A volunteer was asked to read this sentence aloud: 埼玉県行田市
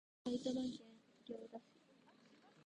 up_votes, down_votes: 0, 2